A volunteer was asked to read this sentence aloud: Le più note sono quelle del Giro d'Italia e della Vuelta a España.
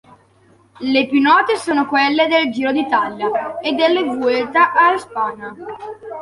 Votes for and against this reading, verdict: 1, 2, rejected